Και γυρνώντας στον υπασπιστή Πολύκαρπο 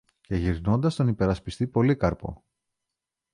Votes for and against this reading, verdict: 0, 2, rejected